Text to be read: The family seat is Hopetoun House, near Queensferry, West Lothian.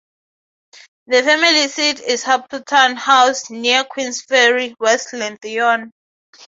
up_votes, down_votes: 0, 3